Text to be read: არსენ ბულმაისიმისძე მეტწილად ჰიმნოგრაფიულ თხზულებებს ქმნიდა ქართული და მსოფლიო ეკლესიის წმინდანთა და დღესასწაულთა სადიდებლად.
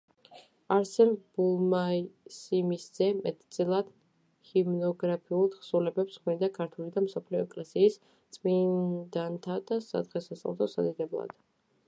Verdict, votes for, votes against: rejected, 0, 2